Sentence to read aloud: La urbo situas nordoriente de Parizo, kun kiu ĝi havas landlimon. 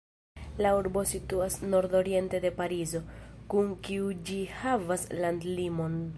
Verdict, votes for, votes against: rejected, 0, 2